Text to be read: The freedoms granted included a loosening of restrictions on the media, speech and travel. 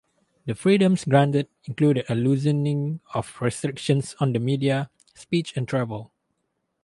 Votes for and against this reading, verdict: 2, 2, rejected